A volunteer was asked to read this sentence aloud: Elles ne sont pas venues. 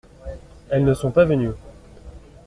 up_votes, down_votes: 2, 0